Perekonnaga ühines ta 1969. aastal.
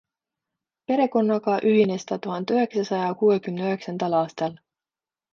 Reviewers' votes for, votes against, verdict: 0, 2, rejected